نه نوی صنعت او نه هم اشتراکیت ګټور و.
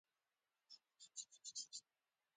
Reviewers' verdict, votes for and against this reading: rejected, 1, 2